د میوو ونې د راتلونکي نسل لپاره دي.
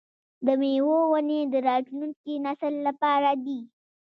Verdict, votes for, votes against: rejected, 1, 2